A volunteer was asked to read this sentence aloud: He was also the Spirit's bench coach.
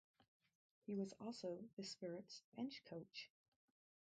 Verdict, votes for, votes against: rejected, 0, 2